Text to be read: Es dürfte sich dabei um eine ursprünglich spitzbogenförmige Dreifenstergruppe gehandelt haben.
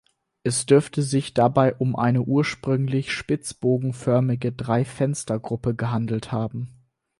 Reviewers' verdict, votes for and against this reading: accepted, 4, 0